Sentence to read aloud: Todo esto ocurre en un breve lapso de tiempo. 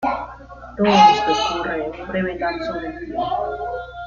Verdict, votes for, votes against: rejected, 0, 2